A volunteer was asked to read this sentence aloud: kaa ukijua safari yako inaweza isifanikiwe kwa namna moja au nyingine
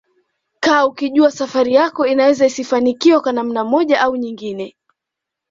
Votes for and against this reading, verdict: 2, 0, accepted